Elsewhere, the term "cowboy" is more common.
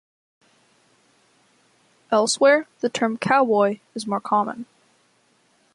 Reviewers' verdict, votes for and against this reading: accepted, 2, 0